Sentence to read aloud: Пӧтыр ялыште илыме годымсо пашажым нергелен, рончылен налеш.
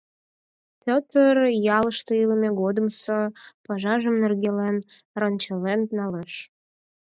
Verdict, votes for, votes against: accepted, 4, 2